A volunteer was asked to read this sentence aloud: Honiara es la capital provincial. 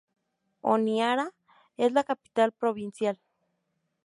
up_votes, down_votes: 2, 0